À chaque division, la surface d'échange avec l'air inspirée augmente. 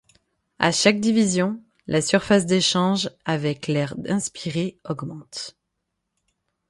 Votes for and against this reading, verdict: 3, 6, rejected